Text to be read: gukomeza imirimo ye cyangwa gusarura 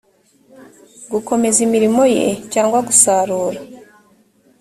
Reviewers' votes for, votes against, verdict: 2, 0, accepted